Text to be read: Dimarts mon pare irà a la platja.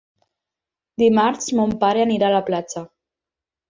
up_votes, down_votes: 4, 6